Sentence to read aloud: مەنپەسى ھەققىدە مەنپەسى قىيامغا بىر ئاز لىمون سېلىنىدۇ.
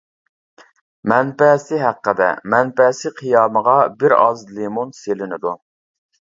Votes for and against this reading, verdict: 1, 2, rejected